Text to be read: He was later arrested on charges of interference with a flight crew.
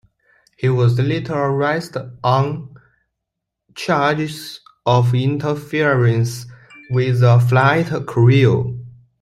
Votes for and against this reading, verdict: 0, 2, rejected